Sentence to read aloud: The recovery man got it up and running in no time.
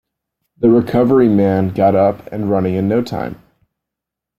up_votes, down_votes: 1, 2